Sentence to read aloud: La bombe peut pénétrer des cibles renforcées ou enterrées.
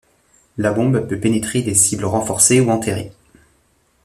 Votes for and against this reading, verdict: 1, 3, rejected